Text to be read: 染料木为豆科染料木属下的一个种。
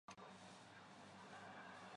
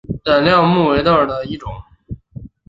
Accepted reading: second